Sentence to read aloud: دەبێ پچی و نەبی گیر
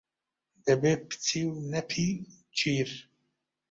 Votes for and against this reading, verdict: 1, 2, rejected